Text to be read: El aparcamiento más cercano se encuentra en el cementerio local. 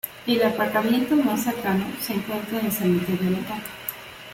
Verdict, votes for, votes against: accepted, 2, 0